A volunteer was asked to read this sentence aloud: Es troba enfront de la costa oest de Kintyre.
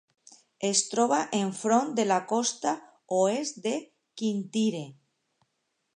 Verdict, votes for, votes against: accepted, 3, 0